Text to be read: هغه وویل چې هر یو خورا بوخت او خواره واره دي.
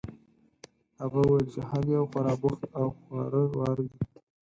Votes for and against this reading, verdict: 0, 4, rejected